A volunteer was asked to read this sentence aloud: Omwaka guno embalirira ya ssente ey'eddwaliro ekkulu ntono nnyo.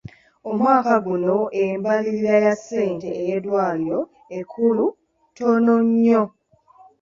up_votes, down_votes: 0, 2